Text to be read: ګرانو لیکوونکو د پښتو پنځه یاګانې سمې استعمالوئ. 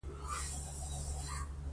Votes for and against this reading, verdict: 1, 2, rejected